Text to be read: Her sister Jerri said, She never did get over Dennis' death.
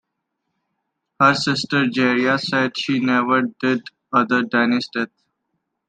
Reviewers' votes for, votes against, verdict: 1, 2, rejected